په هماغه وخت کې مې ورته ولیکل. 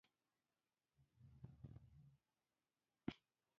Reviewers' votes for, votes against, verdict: 0, 2, rejected